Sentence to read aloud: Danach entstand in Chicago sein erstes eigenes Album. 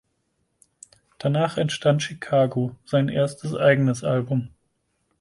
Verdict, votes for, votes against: rejected, 0, 4